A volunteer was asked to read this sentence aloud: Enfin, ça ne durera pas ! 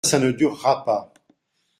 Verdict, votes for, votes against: rejected, 0, 2